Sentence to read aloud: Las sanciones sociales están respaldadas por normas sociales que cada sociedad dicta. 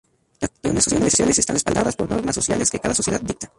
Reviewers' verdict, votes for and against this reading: rejected, 0, 2